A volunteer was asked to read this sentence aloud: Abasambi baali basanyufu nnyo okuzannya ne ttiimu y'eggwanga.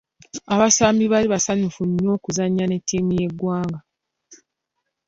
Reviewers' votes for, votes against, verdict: 1, 3, rejected